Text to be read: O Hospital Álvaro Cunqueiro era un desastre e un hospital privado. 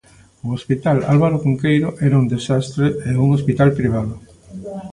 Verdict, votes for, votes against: rejected, 1, 2